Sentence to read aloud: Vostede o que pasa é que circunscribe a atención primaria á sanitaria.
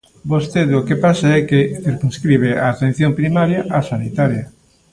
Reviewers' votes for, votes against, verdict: 2, 1, accepted